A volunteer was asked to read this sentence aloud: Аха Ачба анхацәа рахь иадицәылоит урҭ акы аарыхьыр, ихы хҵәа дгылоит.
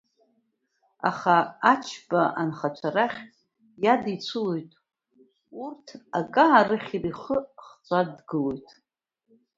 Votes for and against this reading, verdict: 2, 0, accepted